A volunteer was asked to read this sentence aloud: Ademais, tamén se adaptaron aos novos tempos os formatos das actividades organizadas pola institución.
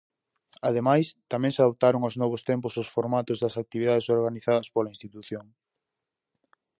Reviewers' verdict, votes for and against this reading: rejected, 0, 4